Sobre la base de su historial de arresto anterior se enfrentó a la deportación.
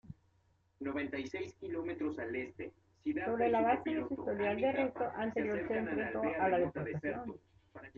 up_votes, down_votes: 0, 2